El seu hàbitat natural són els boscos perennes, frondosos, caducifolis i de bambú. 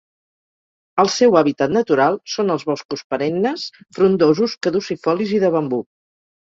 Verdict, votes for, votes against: accepted, 4, 0